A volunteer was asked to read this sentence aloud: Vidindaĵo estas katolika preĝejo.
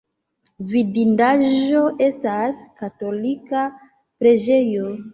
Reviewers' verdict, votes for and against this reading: accepted, 2, 0